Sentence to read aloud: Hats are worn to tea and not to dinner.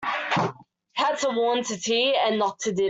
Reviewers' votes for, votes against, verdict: 0, 2, rejected